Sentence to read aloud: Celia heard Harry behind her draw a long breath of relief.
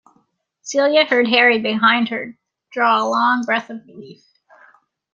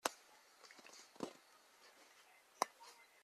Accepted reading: first